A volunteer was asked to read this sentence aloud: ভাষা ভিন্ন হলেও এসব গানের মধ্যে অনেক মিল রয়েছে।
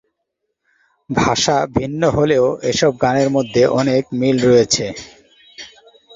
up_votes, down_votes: 3, 0